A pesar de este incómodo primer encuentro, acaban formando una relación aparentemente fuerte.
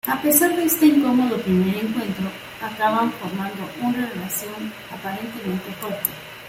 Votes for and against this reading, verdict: 2, 1, accepted